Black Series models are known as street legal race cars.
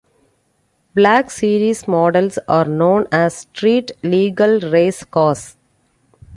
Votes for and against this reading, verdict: 2, 0, accepted